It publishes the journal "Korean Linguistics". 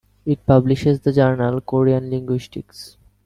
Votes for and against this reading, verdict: 2, 0, accepted